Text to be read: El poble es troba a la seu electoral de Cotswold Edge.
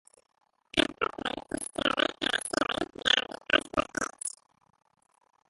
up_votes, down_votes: 0, 2